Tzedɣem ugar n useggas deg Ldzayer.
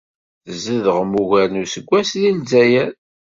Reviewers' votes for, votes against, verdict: 2, 0, accepted